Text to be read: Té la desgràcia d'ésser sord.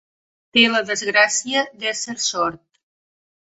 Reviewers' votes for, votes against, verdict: 2, 0, accepted